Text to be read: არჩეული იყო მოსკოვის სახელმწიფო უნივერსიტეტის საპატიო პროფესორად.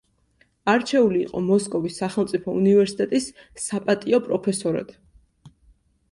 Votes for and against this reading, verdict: 2, 0, accepted